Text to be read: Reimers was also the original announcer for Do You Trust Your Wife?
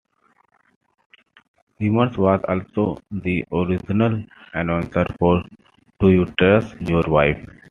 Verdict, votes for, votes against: accepted, 2, 0